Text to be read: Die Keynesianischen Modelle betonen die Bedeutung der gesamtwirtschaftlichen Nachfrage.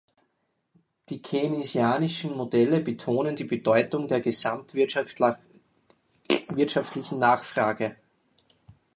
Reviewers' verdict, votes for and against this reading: rejected, 0, 4